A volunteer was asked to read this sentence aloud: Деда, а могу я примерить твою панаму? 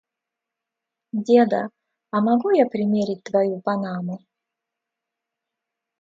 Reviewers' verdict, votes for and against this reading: accepted, 2, 0